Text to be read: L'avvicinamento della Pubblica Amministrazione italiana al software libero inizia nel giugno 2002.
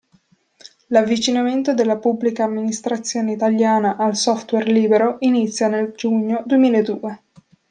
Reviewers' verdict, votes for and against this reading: rejected, 0, 2